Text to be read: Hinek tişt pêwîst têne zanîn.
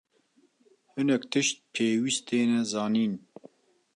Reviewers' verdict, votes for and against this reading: accepted, 2, 0